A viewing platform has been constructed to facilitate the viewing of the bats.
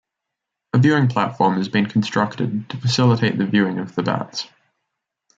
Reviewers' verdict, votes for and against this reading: rejected, 1, 2